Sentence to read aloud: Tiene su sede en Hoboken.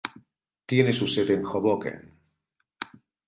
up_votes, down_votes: 2, 0